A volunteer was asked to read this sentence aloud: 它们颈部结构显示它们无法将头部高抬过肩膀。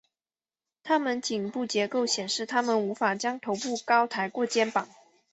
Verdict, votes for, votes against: accepted, 2, 0